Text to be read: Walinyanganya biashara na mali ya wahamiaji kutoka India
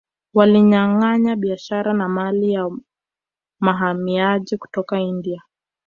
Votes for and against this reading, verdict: 0, 2, rejected